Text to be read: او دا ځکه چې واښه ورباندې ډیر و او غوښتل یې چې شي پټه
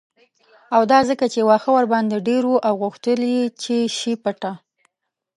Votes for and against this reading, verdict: 1, 2, rejected